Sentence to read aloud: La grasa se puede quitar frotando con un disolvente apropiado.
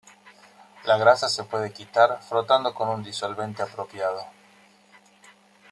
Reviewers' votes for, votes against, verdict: 2, 0, accepted